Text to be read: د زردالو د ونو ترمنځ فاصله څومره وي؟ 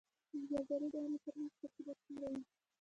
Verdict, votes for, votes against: rejected, 1, 2